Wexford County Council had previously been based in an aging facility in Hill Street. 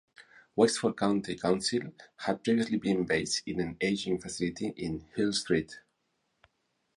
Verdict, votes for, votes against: accepted, 4, 0